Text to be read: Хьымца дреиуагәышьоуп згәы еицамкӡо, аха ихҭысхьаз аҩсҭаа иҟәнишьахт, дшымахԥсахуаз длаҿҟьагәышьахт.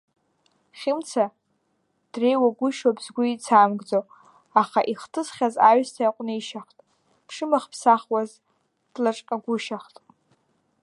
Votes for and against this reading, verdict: 1, 2, rejected